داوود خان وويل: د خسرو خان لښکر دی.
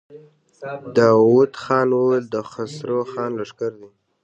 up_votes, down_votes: 2, 0